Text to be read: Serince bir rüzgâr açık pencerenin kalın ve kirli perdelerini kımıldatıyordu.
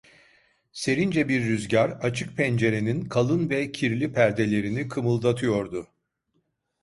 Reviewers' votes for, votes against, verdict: 2, 0, accepted